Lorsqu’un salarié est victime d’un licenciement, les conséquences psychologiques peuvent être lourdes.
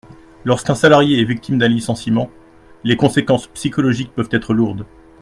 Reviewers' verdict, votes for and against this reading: accepted, 2, 0